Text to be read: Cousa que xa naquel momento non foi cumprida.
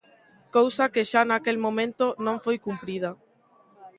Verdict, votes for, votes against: accepted, 2, 0